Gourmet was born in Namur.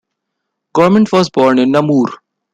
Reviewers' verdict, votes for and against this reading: accepted, 2, 1